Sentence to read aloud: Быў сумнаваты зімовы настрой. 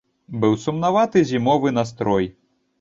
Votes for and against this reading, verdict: 2, 0, accepted